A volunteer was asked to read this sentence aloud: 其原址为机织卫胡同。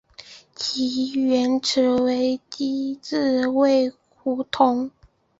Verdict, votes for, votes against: accepted, 2, 0